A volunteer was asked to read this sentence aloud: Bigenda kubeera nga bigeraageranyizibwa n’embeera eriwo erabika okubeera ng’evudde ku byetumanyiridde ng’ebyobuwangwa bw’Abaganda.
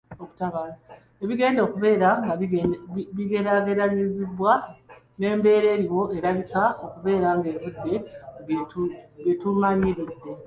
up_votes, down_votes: 0, 2